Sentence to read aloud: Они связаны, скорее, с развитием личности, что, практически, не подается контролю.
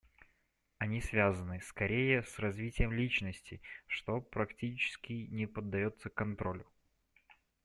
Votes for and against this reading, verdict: 2, 0, accepted